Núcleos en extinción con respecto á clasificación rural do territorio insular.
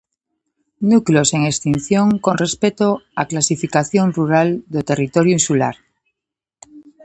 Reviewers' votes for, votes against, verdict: 2, 0, accepted